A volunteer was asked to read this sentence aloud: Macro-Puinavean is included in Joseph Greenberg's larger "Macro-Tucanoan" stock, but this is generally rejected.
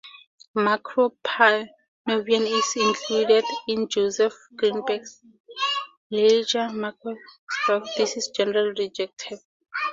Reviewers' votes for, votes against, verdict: 2, 2, rejected